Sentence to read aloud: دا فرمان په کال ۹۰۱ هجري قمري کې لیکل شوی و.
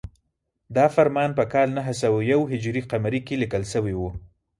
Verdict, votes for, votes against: rejected, 0, 2